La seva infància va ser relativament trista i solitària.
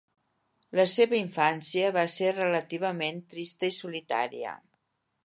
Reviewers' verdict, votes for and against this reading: accepted, 3, 0